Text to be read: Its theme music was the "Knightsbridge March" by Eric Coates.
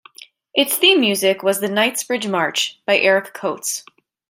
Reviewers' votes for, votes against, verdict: 2, 0, accepted